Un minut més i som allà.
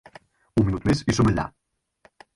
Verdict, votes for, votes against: rejected, 2, 4